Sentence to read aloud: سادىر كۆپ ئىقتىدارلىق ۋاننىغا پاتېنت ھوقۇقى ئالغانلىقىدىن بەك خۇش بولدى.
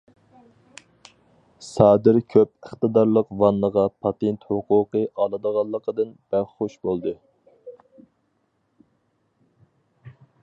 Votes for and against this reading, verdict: 2, 2, rejected